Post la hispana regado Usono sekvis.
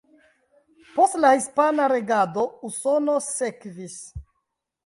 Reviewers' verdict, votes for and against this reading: accepted, 2, 1